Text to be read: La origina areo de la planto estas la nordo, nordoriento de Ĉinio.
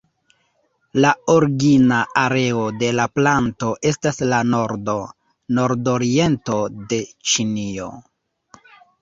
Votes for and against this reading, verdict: 1, 2, rejected